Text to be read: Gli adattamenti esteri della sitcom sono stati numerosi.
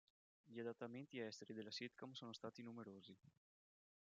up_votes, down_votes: 0, 2